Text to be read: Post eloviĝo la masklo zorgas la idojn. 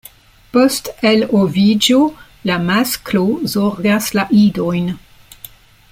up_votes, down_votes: 2, 0